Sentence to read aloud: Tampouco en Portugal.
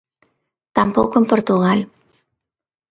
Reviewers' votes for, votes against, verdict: 2, 0, accepted